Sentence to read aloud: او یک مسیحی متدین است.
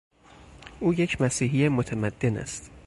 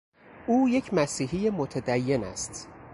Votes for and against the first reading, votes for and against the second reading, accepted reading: 2, 6, 2, 0, second